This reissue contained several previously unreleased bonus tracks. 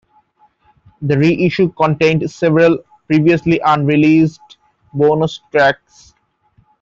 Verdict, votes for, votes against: rejected, 1, 2